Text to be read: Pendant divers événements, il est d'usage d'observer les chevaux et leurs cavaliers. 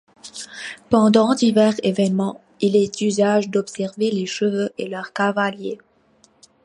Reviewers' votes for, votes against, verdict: 2, 1, accepted